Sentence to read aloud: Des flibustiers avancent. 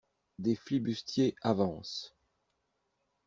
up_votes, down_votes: 2, 0